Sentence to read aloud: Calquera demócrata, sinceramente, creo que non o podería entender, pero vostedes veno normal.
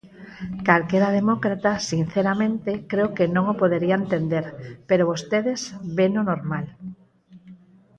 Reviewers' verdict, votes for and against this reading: rejected, 2, 4